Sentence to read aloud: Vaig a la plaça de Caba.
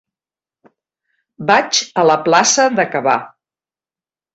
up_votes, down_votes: 1, 3